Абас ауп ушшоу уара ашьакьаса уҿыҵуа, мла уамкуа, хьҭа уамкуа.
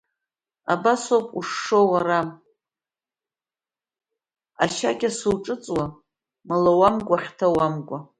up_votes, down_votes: 0, 2